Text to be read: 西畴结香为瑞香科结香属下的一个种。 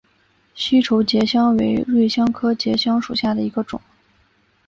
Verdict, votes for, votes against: accepted, 4, 0